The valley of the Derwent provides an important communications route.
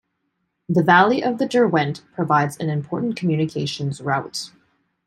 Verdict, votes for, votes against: accepted, 2, 0